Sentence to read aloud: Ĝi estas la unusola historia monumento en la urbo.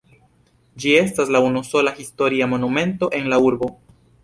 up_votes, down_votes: 2, 0